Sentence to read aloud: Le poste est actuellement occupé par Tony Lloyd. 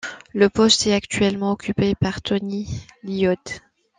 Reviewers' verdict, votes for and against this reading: rejected, 1, 2